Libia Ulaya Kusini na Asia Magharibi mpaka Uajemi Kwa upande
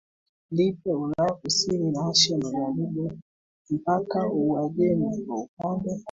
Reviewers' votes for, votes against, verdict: 2, 0, accepted